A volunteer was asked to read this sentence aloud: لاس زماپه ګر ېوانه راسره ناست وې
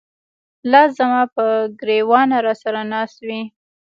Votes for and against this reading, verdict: 0, 2, rejected